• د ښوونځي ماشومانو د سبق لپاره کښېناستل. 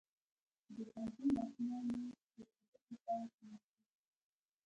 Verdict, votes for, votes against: rejected, 1, 2